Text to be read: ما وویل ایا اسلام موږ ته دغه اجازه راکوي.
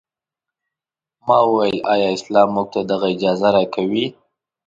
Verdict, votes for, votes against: accepted, 2, 1